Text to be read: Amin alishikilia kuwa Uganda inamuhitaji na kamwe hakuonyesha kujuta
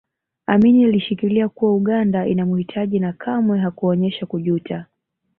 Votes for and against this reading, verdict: 2, 0, accepted